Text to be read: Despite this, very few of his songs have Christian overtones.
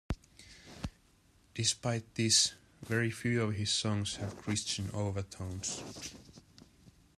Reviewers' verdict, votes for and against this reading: rejected, 0, 2